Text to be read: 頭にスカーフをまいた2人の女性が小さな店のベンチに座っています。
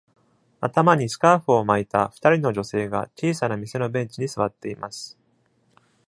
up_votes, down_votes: 0, 2